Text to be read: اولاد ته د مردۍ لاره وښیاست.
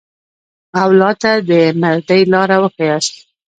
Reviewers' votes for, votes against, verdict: 0, 2, rejected